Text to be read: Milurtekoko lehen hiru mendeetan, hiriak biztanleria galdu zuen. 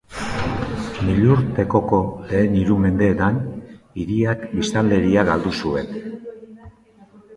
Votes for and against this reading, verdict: 3, 0, accepted